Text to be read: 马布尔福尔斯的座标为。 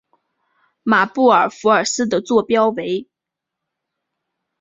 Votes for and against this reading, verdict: 3, 1, accepted